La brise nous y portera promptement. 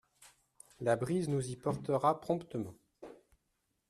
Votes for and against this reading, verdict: 2, 0, accepted